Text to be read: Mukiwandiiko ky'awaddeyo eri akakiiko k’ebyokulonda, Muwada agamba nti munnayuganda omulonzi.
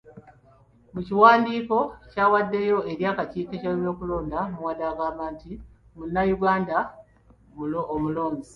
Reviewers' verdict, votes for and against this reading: accepted, 2, 1